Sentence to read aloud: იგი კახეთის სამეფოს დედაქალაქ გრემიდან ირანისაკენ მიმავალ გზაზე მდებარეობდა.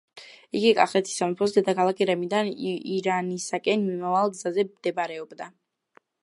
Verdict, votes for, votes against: accepted, 2, 0